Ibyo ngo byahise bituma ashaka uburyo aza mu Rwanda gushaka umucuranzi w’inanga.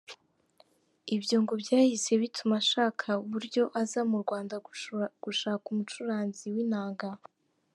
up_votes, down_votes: 0, 3